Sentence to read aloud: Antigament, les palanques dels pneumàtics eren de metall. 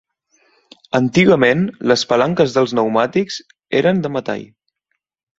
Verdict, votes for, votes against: accepted, 2, 0